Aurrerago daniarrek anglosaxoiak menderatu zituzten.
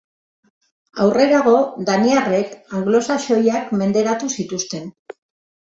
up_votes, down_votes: 2, 1